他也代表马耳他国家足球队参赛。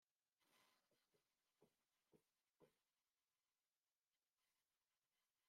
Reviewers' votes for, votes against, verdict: 0, 2, rejected